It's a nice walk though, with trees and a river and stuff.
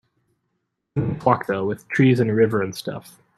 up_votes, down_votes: 0, 2